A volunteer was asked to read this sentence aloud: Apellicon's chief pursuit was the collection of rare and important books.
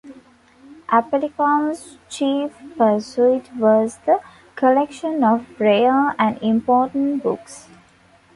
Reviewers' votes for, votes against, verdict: 2, 1, accepted